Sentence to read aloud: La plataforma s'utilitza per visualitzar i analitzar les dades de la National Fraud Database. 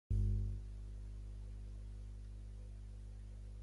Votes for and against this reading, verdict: 0, 2, rejected